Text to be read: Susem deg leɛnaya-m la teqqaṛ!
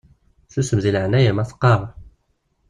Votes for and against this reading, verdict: 0, 2, rejected